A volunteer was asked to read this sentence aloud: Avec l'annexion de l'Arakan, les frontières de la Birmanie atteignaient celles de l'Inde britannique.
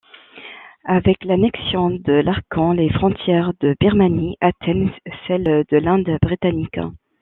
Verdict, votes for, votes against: rejected, 0, 2